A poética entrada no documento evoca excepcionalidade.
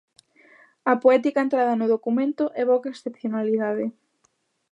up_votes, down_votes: 2, 0